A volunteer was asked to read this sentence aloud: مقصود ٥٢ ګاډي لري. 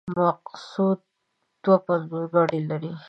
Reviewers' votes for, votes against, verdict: 0, 2, rejected